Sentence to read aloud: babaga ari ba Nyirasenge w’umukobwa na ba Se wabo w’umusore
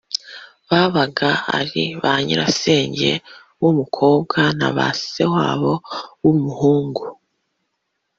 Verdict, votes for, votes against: rejected, 1, 2